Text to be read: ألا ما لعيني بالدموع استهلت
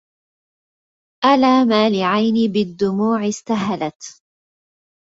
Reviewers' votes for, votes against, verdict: 1, 2, rejected